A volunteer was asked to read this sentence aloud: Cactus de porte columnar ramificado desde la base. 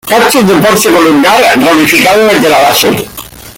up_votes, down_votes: 0, 2